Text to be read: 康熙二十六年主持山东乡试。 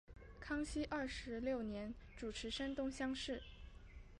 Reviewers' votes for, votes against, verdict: 0, 2, rejected